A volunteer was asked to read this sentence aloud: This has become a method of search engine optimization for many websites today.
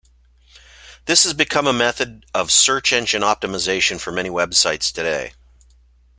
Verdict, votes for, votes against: accepted, 2, 0